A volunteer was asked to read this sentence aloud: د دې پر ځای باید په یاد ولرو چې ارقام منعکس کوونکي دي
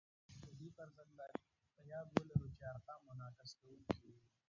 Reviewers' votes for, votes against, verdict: 0, 2, rejected